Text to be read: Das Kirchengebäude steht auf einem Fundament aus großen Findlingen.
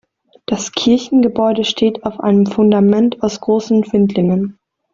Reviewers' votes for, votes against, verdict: 2, 0, accepted